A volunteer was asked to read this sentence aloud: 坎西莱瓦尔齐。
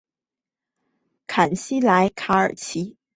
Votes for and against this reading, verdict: 1, 2, rejected